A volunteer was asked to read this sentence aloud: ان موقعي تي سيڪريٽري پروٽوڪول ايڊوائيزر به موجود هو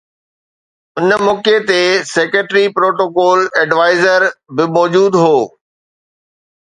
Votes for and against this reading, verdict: 2, 0, accepted